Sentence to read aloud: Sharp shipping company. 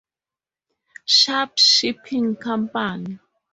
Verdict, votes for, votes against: rejected, 0, 2